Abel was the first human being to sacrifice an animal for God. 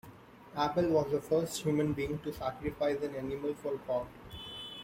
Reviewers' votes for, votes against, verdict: 1, 2, rejected